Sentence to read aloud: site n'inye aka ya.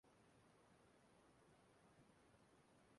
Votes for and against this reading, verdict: 0, 2, rejected